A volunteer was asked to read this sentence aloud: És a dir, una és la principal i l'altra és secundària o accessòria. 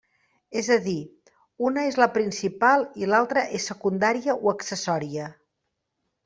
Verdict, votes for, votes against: accepted, 3, 0